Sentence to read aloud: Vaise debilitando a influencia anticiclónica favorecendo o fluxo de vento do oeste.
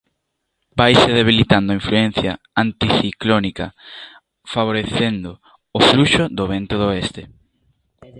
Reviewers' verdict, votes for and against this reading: rejected, 1, 2